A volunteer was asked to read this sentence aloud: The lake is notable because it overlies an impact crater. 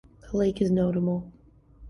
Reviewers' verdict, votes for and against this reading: rejected, 0, 2